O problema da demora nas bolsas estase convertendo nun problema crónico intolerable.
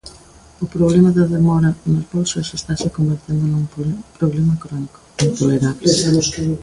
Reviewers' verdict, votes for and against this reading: rejected, 0, 2